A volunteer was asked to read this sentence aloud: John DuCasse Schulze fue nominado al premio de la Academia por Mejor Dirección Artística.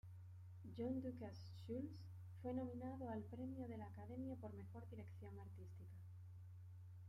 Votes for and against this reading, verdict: 2, 1, accepted